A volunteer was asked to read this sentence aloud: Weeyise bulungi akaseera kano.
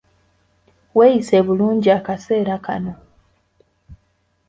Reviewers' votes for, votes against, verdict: 2, 0, accepted